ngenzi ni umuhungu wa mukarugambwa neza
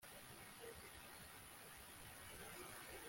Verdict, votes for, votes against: rejected, 1, 2